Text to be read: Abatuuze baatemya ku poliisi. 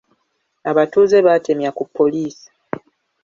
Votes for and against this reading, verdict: 2, 1, accepted